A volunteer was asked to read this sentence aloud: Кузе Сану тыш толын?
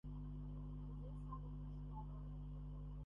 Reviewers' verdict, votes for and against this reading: rejected, 0, 2